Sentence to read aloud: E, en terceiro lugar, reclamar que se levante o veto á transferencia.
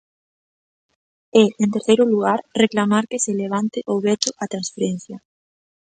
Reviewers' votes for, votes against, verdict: 3, 0, accepted